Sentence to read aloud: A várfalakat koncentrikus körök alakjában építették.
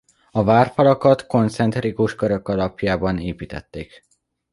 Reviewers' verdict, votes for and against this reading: rejected, 1, 2